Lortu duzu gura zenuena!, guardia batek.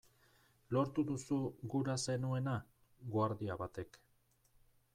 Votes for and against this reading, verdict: 0, 2, rejected